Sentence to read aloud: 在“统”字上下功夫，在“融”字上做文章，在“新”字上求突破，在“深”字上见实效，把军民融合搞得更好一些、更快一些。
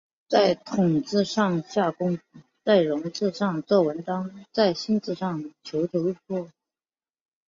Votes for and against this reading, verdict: 0, 2, rejected